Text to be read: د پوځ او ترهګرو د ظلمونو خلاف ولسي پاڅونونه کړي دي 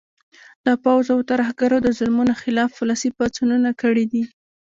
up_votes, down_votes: 1, 2